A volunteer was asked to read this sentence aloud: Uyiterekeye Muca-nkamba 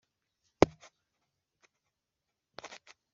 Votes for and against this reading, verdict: 1, 2, rejected